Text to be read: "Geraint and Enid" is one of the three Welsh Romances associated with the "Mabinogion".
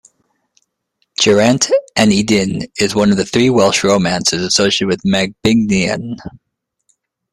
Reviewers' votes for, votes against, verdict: 1, 2, rejected